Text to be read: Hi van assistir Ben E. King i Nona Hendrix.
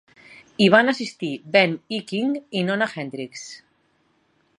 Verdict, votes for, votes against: accepted, 4, 0